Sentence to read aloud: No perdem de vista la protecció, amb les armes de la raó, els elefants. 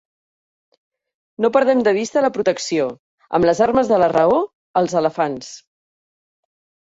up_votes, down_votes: 1, 2